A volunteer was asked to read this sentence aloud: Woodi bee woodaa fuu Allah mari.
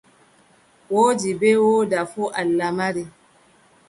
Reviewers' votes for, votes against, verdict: 2, 0, accepted